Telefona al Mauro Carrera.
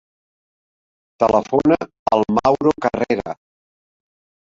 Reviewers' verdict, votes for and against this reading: rejected, 1, 2